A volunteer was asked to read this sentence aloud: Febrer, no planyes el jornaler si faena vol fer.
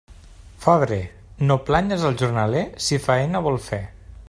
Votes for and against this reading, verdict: 2, 0, accepted